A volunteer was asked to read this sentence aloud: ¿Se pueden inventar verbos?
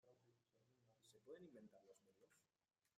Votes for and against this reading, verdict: 0, 2, rejected